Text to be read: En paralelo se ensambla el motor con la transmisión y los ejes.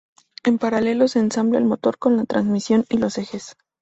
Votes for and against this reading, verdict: 4, 0, accepted